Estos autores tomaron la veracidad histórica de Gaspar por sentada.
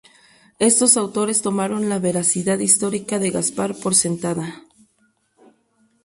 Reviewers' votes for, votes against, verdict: 0, 2, rejected